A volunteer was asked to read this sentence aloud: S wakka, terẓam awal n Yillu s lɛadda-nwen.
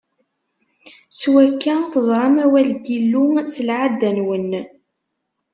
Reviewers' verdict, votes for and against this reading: rejected, 0, 2